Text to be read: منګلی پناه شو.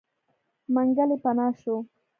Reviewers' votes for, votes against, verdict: 2, 0, accepted